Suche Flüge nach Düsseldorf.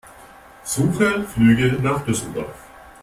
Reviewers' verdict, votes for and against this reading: accepted, 2, 0